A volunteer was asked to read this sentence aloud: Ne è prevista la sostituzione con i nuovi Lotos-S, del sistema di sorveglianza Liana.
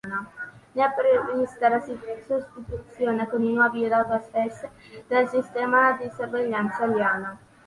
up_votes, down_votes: 0, 2